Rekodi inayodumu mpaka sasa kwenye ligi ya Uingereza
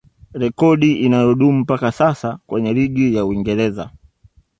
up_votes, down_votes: 2, 0